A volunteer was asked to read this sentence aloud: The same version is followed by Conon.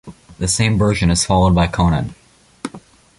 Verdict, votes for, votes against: accepted, 2, 0